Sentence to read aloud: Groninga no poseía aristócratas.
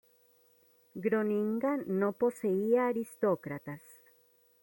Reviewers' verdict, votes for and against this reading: rejected, 1, 2